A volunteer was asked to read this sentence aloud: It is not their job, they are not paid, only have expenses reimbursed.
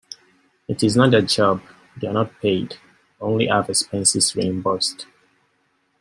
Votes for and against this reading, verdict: 2, 0, accepted